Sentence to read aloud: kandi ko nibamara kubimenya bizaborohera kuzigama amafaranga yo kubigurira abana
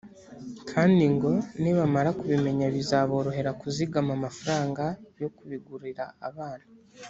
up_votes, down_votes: 1, 2